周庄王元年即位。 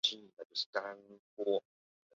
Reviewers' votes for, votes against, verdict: 0, 3, rejected